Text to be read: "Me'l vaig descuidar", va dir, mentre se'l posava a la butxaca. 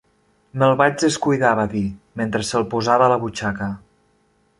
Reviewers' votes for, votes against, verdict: 2, 0, accepted